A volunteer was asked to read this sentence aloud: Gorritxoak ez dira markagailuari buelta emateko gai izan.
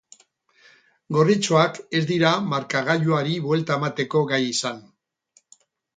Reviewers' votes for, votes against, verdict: 6, 0, accepted